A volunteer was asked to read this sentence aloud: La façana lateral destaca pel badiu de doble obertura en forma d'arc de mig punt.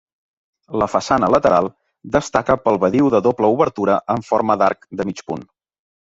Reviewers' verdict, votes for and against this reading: rejected, 1, 2